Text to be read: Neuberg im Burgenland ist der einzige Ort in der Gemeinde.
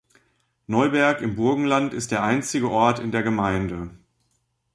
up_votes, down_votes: 2, 0